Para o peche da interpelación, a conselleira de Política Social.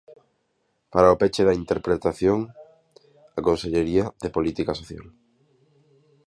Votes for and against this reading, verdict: 0, 2, rejected